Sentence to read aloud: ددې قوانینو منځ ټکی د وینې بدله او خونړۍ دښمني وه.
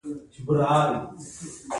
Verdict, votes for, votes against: accepted, 2, 1